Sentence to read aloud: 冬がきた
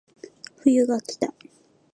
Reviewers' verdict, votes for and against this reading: accepted, 2, 0